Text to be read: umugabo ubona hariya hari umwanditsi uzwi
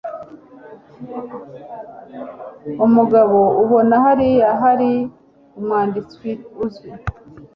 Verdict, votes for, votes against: rejected, 1, 2